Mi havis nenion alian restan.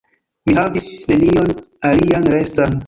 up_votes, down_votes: 0, 2